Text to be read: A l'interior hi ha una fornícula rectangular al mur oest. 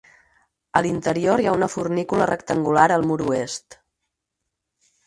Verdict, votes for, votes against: accepted, 4, 0